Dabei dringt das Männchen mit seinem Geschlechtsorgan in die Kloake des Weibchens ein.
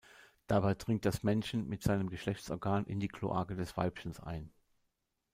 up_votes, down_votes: 0, 2